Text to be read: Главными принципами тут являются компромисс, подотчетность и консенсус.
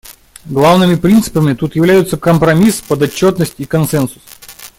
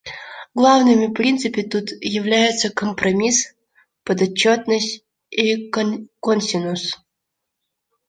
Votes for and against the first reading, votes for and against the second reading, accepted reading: 2, 0, 1, 2, first